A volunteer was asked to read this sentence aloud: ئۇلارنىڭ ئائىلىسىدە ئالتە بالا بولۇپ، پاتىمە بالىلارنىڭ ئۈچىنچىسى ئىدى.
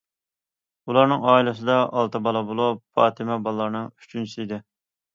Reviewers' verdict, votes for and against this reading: accepted, 2, 0